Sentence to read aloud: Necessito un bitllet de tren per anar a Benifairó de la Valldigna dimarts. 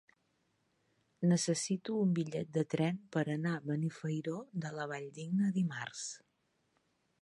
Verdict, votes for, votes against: accepted, 4, 1